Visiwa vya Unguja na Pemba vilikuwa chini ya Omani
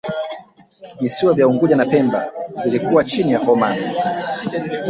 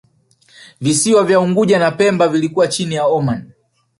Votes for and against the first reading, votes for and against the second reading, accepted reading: 2, 0, 1, 2, first